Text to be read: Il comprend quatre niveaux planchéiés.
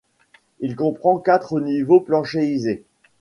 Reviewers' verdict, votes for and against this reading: rejected, 0, 2